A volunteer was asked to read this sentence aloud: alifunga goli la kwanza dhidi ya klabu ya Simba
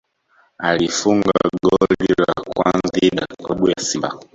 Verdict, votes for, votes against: rejected, 0, 2